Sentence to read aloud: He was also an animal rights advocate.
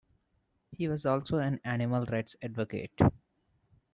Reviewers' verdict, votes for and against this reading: accepted, 2, 0